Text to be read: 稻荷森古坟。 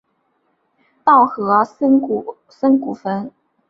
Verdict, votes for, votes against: rejected, 1, 2